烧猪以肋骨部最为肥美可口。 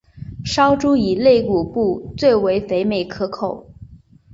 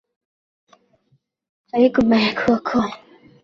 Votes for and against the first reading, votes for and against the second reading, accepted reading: 5, 0, 1, 3, first